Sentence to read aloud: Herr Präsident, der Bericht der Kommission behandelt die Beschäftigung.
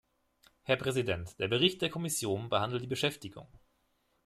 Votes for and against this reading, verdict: 2, 3, rejected